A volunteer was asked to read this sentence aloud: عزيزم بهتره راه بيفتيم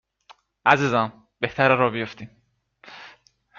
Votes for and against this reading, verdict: 2, 0, accepted